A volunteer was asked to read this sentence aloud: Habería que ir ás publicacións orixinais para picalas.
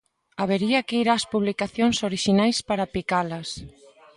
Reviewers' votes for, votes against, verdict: 2, 0, accepted